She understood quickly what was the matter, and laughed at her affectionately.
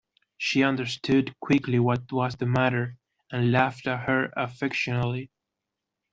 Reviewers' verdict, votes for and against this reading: accepted, 2, 0